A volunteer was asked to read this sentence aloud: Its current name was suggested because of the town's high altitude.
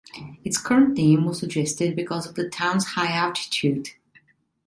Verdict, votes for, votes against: accepted, 2, 0